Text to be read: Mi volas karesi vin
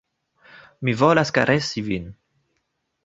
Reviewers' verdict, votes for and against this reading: accepted, 2, 0